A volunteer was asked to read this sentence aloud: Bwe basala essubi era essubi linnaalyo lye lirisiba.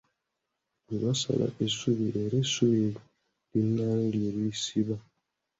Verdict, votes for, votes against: accepted, 2, 0